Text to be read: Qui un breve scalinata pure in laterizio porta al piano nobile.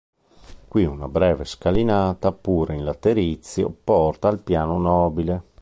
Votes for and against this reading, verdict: 0, 2, rejected